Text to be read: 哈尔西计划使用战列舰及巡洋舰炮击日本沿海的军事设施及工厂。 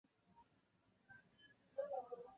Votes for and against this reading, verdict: 0, 3, rejected